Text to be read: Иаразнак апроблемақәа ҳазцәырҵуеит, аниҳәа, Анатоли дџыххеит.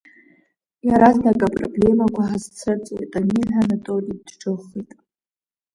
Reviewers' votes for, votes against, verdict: 1, 2, rejected